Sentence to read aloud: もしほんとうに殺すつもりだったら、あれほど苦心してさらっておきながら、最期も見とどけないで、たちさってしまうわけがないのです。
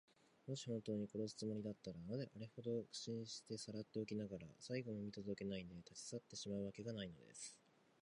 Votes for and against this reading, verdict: 1, 4, rejected